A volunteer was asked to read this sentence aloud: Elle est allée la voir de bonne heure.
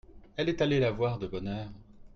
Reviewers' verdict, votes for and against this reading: accepted, 2, 0